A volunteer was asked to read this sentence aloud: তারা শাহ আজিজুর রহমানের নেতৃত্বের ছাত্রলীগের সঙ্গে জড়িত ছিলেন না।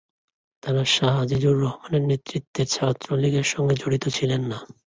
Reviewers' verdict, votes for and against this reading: accepted, 2, 0